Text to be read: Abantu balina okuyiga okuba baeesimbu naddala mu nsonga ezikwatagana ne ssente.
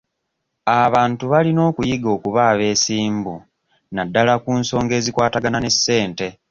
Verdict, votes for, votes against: rejected, 0, 2